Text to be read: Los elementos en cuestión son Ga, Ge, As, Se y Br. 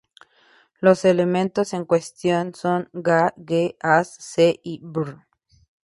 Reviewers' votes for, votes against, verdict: 0, 2, rejected